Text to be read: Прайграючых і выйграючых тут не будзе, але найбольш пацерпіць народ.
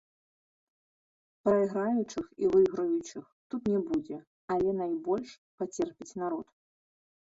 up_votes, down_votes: 2, 0